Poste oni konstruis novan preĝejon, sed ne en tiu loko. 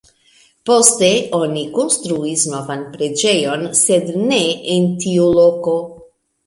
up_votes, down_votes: 0, 2